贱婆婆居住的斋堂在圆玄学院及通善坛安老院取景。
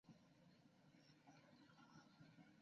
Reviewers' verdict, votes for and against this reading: rejected, 0, 2